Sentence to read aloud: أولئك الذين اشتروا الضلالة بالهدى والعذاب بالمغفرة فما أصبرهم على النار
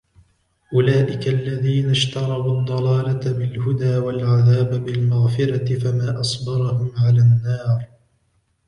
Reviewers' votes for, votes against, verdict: 2, 0, accepted